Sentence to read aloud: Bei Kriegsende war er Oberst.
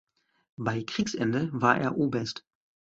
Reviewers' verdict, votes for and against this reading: accepted, 2, 1